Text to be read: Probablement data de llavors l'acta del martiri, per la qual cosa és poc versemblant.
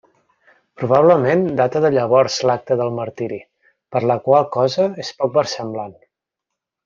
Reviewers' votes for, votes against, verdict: 2, 0, accepted